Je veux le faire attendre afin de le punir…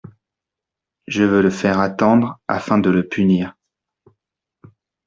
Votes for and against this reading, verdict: 2, 0, accepted